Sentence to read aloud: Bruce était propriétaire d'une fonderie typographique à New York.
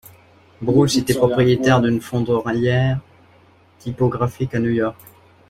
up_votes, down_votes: 0, 2